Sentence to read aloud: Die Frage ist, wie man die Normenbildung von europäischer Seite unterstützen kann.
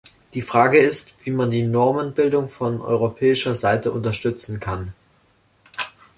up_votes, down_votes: 2, 0